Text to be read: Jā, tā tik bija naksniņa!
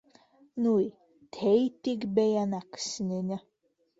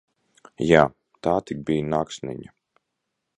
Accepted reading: second